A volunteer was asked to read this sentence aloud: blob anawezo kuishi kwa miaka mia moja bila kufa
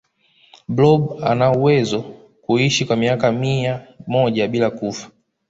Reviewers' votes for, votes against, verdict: 2, 0, accepted